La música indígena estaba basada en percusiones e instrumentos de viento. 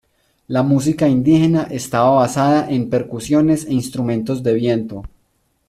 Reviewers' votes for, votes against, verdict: 2, 0, accepted